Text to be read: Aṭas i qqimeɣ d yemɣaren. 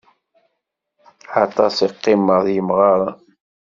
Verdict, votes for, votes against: accepted, 2, 0